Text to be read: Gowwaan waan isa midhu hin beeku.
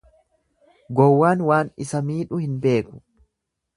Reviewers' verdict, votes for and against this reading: rejected, 1, 2